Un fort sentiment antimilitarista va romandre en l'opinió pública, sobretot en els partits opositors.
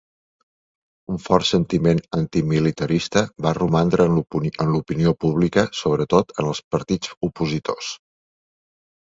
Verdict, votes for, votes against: rejected, 1, 2